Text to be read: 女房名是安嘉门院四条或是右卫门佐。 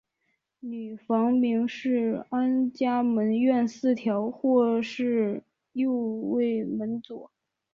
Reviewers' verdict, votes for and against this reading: rejected, 0, 2